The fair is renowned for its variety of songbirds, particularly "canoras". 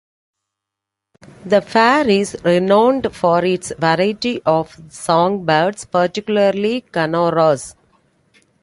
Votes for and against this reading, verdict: 2, 0, accepted